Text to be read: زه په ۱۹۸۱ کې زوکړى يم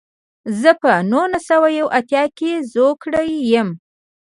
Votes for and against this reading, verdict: 0, 2, rejected